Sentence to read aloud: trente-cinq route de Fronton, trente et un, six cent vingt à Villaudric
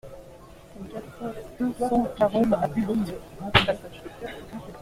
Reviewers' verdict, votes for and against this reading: rejected, 0, 2